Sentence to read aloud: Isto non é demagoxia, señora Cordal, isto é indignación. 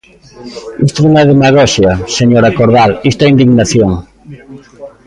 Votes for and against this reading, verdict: 1, 2, rejected